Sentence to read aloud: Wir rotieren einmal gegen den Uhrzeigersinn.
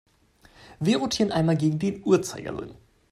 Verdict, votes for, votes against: rejected, 0, 2